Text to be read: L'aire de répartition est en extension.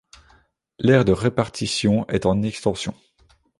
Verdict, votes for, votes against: accepted, 2, 0